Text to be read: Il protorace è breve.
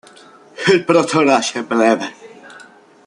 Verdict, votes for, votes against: rejected, 0, 2